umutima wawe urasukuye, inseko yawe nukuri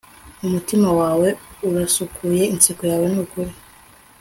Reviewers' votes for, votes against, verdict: 2, 0, accepted